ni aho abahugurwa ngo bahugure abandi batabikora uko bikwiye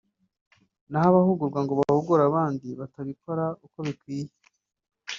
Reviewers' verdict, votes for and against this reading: rejected, 1, 2